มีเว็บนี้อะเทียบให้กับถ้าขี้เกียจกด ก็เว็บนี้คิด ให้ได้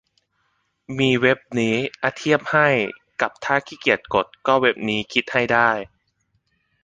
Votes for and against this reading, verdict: 1, 2, rejected